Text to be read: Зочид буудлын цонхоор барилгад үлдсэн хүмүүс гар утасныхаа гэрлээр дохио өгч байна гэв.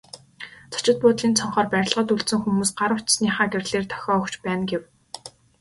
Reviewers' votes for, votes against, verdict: 3, 0, accepted